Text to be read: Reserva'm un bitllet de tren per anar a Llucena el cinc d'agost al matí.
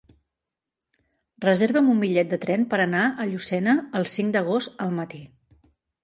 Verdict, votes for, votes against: accepted, 3, 0